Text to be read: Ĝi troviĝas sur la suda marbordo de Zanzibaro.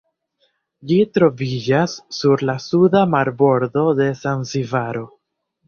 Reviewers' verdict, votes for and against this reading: accepted, 2, 0